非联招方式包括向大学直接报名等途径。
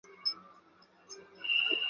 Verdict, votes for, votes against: rejected, 1, 2